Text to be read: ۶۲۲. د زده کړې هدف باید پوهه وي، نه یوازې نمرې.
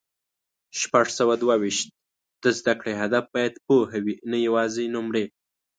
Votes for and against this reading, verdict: 0, 2, rejected